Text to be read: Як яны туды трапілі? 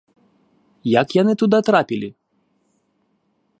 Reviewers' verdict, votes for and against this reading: rejected, 0, 3